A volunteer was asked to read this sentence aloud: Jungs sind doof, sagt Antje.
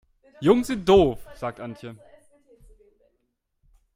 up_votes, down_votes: 2, 0